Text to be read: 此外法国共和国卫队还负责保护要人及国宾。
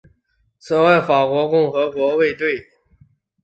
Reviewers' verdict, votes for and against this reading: rejected, 2, 6